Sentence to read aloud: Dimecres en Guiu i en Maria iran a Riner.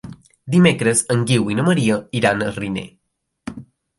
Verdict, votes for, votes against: rejected, 1, 2